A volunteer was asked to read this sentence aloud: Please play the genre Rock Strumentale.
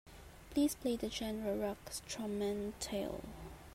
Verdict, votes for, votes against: accepted, 3, 0